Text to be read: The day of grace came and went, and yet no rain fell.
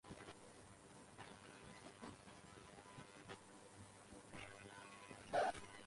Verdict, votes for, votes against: rejected, 0, 2